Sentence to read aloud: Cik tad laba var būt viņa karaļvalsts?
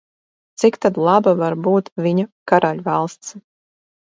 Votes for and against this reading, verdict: 4, 0, accepted